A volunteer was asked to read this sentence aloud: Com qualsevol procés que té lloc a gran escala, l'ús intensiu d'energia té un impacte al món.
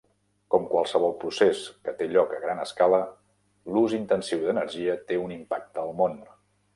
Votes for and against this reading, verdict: 3, 0, accepted